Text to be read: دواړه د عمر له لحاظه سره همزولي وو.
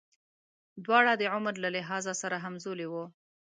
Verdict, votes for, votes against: accepted, 2, 0